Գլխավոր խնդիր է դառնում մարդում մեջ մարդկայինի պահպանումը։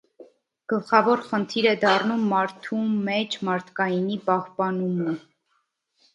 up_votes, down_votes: 3, 0